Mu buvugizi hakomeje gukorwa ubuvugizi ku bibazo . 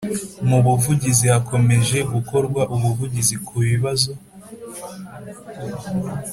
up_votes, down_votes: 3, 0